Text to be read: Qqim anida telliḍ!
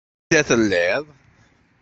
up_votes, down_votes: 1, 2